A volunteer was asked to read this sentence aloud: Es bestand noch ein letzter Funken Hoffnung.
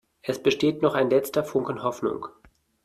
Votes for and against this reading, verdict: 0, 2, rejected